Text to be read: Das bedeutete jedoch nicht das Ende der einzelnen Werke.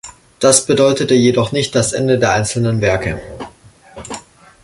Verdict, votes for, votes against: accepted, 2, 0